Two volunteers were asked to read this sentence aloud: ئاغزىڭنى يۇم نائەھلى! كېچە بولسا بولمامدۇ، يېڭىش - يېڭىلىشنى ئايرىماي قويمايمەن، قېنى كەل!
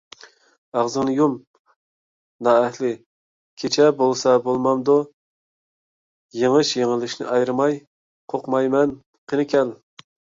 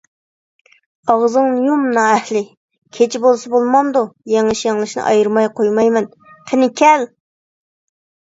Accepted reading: second